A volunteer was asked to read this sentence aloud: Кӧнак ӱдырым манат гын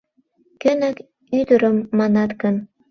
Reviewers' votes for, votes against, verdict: 2, 0, accepted